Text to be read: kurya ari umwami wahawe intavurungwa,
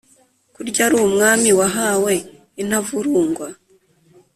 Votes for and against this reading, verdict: 2, 0, accepted